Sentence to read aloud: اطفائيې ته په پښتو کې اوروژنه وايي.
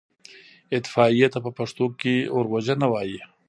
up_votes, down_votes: 1, 2